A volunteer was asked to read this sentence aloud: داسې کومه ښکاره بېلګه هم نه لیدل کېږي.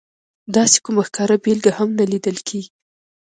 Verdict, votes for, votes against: accepted, 2, 0